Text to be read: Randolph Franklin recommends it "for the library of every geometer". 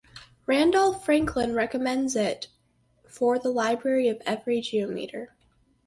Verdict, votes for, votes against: accepted, 4, 0